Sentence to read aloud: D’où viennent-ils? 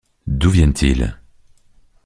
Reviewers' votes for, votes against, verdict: 2, 0, accepted